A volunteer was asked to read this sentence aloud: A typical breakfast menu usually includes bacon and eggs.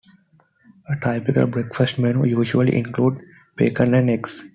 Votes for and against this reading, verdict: 1, 2, rejected